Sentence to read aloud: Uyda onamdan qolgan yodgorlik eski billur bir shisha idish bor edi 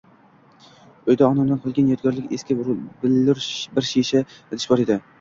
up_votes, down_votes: 2, 0